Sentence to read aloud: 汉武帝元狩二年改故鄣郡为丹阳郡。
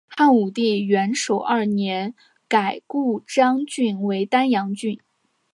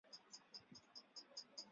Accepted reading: first